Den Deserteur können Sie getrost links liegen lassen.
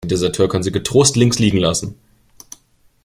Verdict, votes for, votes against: rejected, 0, 2